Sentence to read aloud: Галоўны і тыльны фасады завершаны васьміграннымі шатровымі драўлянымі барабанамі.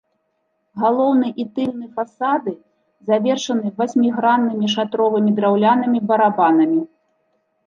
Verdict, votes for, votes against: accepted, 2, 0